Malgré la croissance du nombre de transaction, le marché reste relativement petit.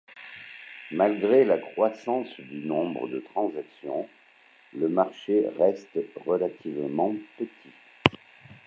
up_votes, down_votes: 2, 0